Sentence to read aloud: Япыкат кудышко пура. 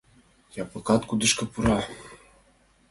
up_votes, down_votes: 2, 0